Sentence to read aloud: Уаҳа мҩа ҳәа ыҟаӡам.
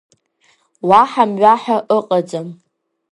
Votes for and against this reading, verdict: 2, 0, accepted